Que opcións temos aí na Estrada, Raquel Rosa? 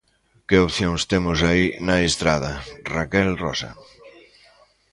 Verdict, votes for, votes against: rejected, 0, 2